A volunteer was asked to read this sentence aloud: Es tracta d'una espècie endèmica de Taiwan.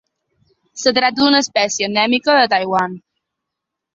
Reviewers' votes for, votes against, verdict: 0, 2, rejected